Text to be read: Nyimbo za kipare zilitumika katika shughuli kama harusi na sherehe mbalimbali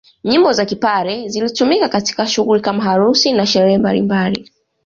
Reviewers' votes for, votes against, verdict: 2, 0, accepted